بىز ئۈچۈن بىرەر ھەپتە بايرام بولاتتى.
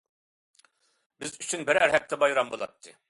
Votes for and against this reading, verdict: 2, 0, accepted